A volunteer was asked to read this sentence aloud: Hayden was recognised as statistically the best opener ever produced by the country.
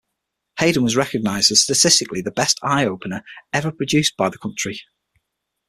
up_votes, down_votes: 0, 6